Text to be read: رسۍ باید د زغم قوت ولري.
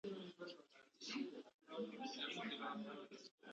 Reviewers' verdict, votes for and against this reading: rejected, 0, 2